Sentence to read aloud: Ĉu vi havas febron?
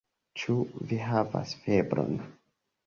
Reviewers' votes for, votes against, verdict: 3, 0, accepted